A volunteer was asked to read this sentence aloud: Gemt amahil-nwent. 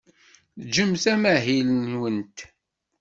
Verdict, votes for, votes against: rejected, 1, 2